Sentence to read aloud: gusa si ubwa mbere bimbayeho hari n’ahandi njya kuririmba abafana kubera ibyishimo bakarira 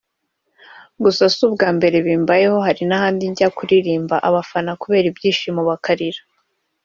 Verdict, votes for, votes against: accepted, 2, 0